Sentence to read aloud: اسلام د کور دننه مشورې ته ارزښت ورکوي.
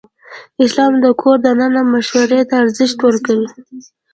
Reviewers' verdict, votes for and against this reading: rejected, 1, 2